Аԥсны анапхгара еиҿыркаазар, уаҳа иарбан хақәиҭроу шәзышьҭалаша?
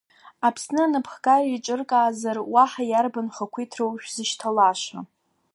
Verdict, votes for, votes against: rejected, 1, 2